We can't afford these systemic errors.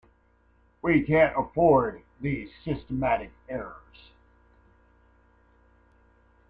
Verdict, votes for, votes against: rejected, 0, 2